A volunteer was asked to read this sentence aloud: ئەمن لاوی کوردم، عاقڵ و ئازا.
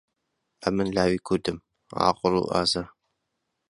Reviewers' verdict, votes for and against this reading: accepted, 2, 0